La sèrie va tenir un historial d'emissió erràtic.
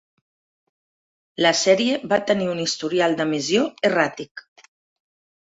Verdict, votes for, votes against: accepted, 2, 0